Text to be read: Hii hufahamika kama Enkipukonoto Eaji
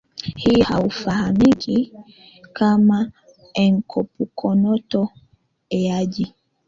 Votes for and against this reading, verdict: 0, 2, rejected